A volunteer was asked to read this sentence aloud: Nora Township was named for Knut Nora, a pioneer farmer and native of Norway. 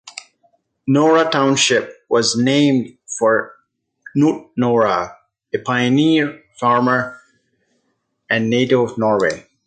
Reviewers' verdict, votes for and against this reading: accepted, 2, 0